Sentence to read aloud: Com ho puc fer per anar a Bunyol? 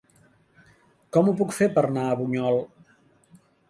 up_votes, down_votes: 0, 2